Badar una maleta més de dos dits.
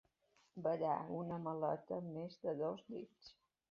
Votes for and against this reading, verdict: 2, 1, accepted